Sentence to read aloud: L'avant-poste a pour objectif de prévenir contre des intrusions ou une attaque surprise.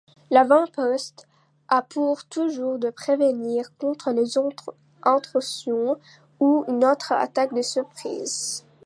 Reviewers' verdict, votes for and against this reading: rejected, 0, 2